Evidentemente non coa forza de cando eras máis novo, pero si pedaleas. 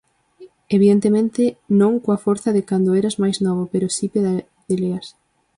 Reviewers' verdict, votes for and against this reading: rejected, 0, 4